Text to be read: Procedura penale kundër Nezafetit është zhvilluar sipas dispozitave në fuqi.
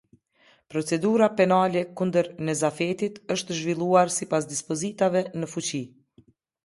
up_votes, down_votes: 2, 0